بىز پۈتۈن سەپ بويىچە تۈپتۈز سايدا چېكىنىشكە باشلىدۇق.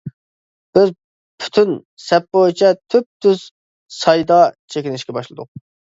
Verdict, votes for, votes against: accepted, 2, 0